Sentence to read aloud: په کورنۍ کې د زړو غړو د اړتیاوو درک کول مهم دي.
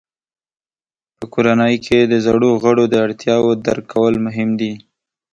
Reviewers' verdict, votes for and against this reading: accepted, 2, 0